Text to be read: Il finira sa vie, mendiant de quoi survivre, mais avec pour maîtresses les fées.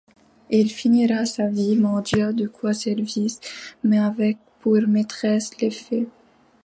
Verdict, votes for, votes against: rejected, 1, 2